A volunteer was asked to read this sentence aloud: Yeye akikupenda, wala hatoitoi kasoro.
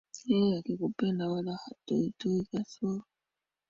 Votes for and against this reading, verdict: 2, 1, accepted